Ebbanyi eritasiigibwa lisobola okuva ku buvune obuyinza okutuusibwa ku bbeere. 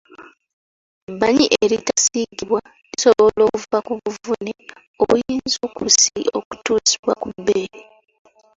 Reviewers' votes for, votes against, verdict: 1, 2, rejected